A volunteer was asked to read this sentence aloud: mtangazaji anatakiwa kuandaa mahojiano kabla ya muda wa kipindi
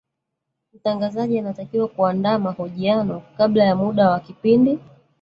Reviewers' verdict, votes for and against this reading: rejected, 1, 2